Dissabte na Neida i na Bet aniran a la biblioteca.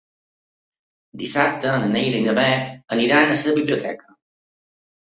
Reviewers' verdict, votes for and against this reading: rejected, 0, 4